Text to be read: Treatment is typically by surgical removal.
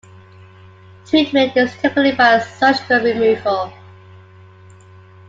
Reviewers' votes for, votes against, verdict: 0, 2, rejected